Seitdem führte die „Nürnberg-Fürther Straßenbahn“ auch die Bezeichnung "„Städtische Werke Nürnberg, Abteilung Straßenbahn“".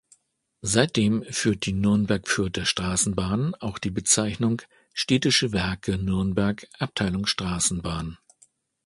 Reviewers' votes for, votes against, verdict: 0, 2, rejected